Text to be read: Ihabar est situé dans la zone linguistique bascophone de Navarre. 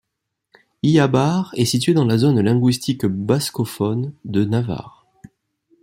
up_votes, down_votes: 2, 0